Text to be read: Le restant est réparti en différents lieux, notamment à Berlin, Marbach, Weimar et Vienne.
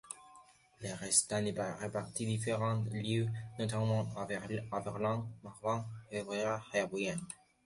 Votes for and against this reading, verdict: 2, 1, accepted